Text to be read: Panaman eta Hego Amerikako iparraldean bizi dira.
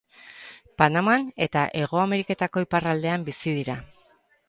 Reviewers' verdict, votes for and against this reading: rejected, 0, 4